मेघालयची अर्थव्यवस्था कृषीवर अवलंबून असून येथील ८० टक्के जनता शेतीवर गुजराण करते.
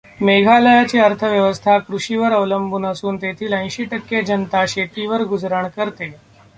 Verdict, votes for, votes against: rejected, 0, 2